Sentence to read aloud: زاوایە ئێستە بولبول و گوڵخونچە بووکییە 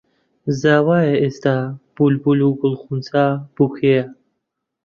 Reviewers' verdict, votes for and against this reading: rejected, 0, 2